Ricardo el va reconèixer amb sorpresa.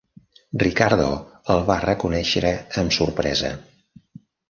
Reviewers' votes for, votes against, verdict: 1, 2, rejected